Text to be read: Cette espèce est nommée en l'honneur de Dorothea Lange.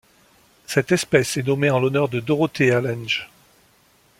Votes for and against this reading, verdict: 2, 0, accepted